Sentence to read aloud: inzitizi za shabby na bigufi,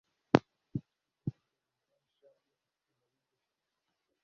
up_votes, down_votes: 1, 2